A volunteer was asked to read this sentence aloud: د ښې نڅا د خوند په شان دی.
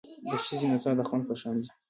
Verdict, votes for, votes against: accepted, 2, 1